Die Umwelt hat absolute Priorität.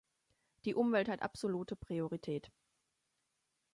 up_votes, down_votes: 2, 0